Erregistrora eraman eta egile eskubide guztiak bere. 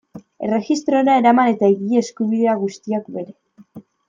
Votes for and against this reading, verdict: 1, 2, rejected